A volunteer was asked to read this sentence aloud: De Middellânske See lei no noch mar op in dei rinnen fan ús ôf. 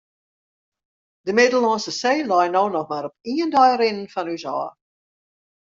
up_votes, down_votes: 1, 2